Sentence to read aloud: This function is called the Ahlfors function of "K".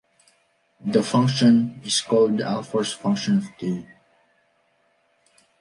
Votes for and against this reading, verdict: 0, 2, rejected